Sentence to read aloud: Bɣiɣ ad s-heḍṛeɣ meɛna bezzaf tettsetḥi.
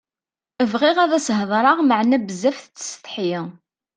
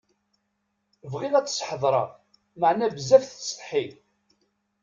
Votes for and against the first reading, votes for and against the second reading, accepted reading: 2, 0, 1, 2, first